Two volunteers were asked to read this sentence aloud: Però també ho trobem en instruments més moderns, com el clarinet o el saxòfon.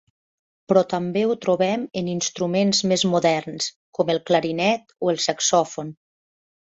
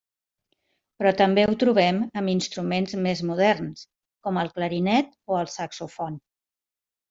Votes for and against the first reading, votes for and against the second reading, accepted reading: 3, 0, 1, 2, first